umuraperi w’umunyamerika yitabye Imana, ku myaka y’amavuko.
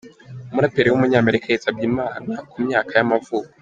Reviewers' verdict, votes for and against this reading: rejected, 1, 2